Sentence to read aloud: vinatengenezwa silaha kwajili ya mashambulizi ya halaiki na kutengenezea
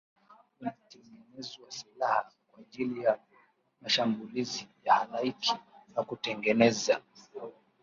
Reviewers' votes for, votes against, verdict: 0, 2, rejected